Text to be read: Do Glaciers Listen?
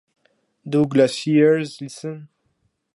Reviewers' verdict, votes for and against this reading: accepted, 4, 0